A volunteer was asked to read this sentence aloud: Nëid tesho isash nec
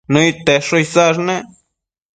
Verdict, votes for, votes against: accepted, 2, 0